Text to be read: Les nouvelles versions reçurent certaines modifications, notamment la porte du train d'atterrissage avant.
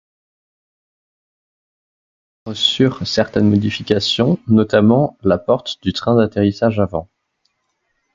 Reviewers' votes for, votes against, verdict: 0, 2, rejected